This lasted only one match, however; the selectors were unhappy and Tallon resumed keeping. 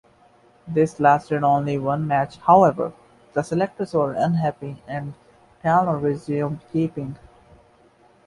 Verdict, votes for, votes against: accepted, 2, 0